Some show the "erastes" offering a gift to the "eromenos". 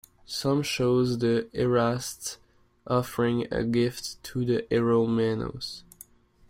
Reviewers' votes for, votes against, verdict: 1, 2, rejected